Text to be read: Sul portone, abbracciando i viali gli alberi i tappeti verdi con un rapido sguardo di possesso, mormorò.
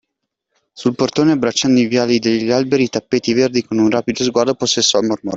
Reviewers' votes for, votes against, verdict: 0, 2, rejected